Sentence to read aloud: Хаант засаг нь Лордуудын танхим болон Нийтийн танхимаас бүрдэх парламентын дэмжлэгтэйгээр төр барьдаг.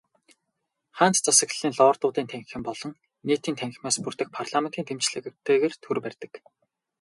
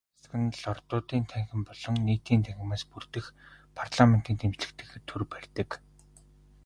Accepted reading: second